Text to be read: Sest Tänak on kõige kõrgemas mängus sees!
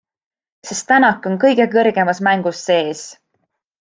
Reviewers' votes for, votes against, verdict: 2, 0, accepted